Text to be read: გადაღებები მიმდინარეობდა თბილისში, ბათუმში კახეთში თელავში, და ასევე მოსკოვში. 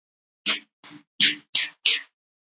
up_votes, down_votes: 1, 2